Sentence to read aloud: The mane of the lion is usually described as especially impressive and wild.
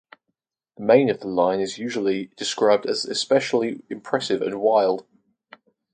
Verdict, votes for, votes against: rejected, 2, 4